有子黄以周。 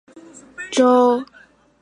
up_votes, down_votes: 0, 5